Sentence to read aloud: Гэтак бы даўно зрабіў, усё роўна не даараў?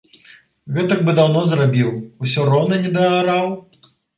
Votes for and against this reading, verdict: 2, 0, accepted